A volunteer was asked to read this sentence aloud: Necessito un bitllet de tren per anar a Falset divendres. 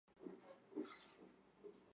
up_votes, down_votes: 0, 2